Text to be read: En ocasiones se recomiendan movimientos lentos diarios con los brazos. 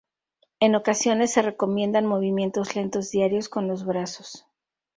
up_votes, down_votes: 2, 0